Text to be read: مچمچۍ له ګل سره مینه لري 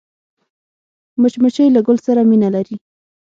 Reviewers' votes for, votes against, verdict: 6, 0, accepted